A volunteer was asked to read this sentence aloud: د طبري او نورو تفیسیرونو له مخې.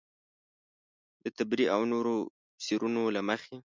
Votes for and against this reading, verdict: 3, 0, accepted